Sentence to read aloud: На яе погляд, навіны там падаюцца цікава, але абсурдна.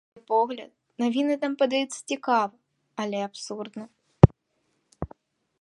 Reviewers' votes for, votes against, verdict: 3, 2, accepted